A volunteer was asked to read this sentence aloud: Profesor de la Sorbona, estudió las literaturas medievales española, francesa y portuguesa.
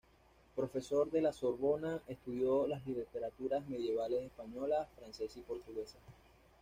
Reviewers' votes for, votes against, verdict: 2, 1, accepted